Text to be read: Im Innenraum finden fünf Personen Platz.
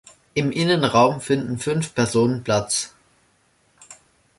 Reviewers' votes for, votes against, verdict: 2, 0, accepted